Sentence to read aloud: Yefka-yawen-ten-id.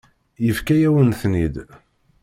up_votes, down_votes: 2, 0